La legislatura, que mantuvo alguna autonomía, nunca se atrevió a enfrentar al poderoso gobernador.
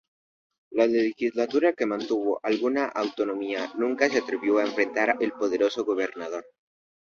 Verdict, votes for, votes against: accepted, 2, 0